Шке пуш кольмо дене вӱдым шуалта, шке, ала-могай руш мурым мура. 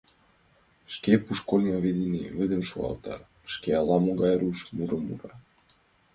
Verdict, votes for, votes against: accepted, 2, 1